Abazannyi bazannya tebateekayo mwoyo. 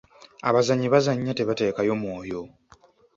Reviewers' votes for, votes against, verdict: 2, 0, accepted